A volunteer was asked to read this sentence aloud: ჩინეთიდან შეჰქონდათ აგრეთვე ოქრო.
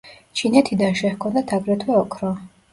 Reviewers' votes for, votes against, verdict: 2, 1, accepted